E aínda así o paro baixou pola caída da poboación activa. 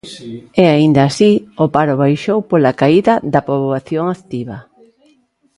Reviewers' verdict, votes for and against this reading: accepted, 2, 1